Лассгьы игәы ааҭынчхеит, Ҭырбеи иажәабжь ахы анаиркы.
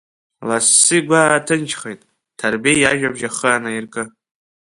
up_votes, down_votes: 2, 0